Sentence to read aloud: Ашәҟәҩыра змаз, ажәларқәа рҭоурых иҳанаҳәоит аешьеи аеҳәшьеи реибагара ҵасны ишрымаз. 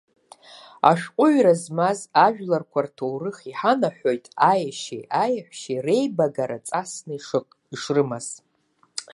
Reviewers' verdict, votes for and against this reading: rejected, 0, 2